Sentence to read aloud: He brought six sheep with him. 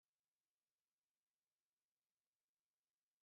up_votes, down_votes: 0, 2